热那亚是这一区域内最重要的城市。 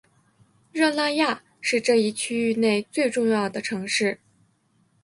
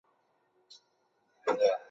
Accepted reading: first